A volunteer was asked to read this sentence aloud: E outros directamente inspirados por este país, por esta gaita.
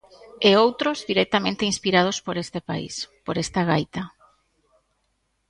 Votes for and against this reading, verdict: 2, 0, accepted